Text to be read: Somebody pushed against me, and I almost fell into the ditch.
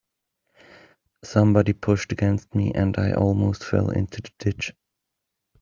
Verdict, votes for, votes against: accepted, 2, 0